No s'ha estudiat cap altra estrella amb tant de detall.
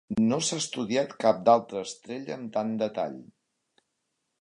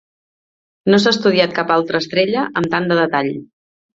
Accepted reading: second